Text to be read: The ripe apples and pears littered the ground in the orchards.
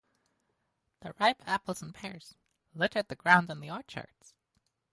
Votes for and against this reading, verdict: 4, 10, rejected